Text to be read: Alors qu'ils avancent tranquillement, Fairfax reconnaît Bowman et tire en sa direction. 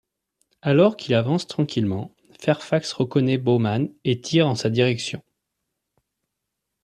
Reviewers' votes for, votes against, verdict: 2, 1, accepted